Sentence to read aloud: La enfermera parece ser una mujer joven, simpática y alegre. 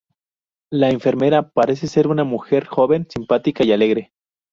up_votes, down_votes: 2, 0